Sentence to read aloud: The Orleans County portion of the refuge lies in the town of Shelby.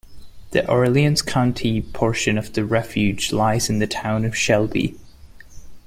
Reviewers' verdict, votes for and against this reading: accepted, 2, 0